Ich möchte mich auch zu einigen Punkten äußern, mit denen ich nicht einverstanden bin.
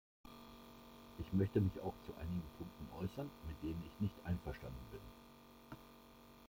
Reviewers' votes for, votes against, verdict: 1, 2, rejected